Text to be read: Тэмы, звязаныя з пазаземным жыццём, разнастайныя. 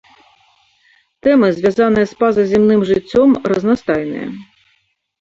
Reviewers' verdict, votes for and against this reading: rejected, 0, 2